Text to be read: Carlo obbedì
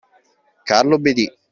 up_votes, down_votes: 2, 0